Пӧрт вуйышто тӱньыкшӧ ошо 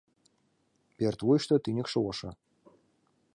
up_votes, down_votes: 3, 0